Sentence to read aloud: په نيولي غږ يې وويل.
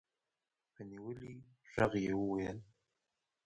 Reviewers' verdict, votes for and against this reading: rejected, 1, 2